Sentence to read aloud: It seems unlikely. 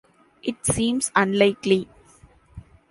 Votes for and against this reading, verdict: 2, 0, accepted